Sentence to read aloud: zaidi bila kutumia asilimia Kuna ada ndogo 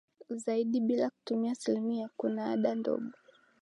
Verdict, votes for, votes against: rejected, 0, 2